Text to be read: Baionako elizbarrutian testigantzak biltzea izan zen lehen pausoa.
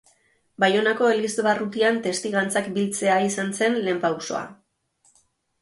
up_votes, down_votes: 2, 0